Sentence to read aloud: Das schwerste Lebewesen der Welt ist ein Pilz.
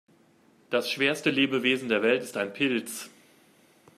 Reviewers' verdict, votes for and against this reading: accepted, 2, 0